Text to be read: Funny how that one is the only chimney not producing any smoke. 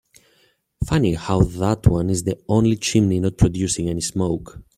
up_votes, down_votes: 3, 0